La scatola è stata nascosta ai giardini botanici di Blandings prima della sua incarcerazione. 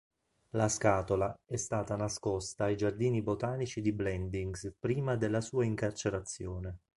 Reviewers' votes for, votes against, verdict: 2, 0, accepted